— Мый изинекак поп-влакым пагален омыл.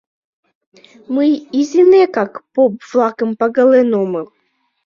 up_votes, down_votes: 1, 2